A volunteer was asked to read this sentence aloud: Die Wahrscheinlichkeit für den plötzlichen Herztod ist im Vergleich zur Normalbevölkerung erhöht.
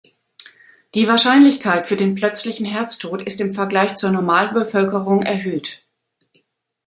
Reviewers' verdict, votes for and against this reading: accepted, 2, 0